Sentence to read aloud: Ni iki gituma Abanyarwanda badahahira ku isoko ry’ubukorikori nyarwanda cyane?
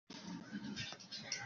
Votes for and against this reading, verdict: 0, 2, rejected